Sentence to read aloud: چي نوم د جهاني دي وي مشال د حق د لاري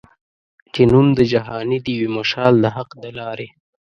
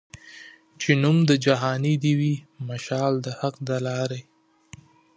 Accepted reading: second